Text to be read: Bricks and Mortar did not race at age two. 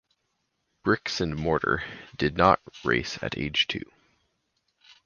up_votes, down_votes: 4, 0